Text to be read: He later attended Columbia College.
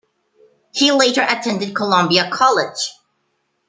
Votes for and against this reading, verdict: 2, 0, accepted